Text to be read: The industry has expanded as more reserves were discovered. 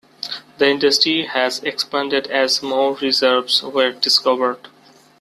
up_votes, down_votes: 2, 0